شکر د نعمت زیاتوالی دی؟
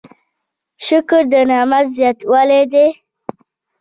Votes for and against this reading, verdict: 0, 2, rejected